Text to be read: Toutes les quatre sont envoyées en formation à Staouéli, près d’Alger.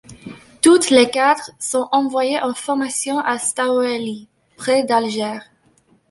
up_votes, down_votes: 1, 2